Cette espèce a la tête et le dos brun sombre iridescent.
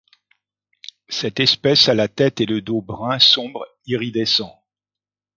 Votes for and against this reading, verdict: 2, 0, accepted